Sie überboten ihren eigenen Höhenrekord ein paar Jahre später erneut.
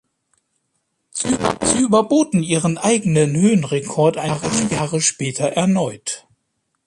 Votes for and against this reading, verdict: 0, 2, rejected